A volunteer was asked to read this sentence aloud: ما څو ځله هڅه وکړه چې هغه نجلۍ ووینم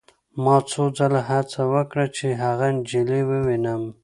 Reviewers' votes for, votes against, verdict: 2, 0, accepted